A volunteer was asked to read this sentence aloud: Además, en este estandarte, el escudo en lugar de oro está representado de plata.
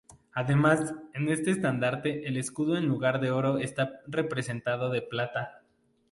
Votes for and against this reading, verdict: 2, 0, accepted